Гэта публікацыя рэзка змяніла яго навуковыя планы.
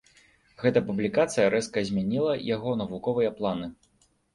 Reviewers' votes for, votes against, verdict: 2, 0, accepted